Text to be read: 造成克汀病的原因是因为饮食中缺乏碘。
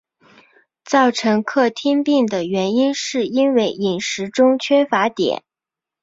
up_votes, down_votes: 2, 0